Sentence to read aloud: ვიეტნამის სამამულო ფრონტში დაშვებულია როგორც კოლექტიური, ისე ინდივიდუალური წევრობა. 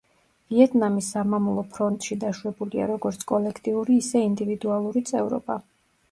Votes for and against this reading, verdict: 1, 2, rejected